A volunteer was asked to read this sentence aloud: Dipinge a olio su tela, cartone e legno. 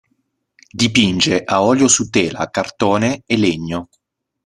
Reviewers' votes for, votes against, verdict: 2, 1, accepted